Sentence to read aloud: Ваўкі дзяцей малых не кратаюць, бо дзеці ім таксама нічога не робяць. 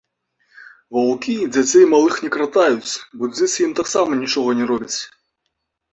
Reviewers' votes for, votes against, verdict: 2, 0, accepted